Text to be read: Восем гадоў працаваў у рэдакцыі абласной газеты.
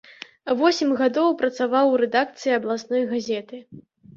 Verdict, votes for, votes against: accepted, 2, 0